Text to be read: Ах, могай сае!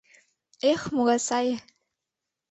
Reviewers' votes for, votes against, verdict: 0, 2, rejected